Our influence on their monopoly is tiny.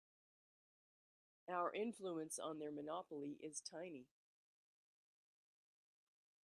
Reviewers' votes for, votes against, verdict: 2, 0, accepted